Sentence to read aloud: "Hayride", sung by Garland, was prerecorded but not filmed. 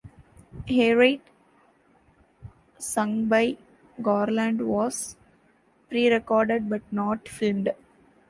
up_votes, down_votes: 0, 2